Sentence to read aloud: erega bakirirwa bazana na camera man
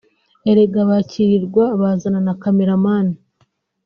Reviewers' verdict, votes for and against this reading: accepted, 2, 1